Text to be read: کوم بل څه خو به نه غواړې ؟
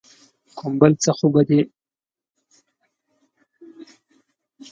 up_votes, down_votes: 0, 2